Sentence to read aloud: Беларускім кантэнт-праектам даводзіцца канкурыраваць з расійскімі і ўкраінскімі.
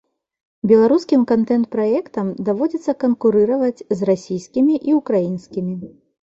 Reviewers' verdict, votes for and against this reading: accepted, 2, 0